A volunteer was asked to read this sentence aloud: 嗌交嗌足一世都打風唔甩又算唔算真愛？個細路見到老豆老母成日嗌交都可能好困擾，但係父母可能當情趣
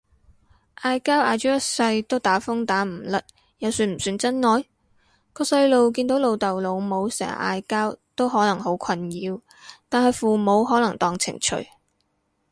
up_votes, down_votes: 2, 2